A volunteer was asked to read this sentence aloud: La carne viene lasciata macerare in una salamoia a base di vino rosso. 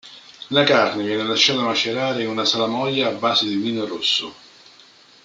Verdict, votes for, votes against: rejected, 0, 2